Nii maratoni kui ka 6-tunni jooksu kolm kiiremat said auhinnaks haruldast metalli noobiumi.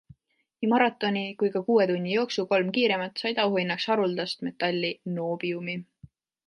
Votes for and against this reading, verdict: 0, 2, rejected